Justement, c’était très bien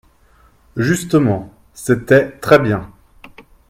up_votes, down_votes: 3, 0